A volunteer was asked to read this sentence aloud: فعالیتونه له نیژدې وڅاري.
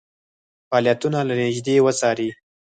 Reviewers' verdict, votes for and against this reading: rejected, 2, 4